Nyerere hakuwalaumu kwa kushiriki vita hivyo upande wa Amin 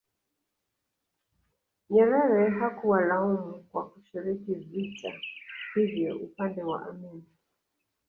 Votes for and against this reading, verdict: 1, 2, rejected